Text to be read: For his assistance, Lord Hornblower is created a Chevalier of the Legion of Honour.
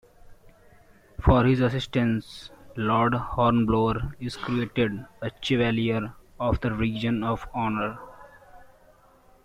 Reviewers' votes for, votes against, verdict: 0, 2, rejected